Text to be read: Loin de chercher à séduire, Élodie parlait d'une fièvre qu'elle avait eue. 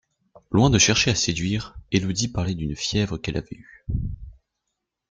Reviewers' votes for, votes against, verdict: 2, 1, accepted